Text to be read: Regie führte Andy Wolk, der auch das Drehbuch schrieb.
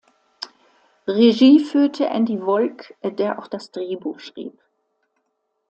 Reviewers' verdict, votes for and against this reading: accepted, 2, 0